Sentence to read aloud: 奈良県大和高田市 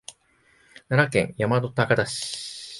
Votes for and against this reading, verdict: 2, 0, accepted